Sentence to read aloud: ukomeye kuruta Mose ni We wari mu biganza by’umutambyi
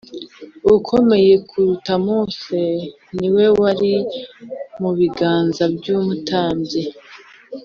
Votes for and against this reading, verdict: 2, 0, accepted